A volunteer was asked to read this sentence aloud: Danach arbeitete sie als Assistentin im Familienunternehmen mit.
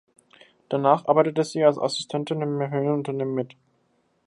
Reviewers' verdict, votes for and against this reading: rejected, 0, 2